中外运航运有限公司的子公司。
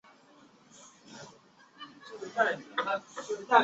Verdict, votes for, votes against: rejected, 1, 2